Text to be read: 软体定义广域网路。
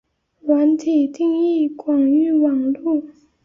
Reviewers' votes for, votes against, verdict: 2, 0, accepted